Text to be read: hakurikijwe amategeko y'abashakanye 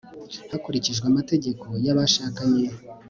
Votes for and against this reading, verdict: 3, 0, accepted